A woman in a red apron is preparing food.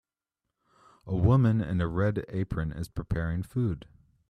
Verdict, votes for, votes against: accepted, 2, 0